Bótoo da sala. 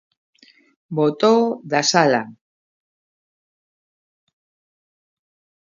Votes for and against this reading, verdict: 0, 2, rejected